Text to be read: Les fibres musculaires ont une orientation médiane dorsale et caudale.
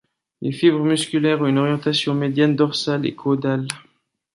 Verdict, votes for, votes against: accepted, 2, 1